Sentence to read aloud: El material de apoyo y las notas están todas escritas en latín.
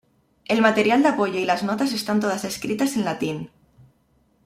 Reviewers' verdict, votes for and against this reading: accepted, 2, 1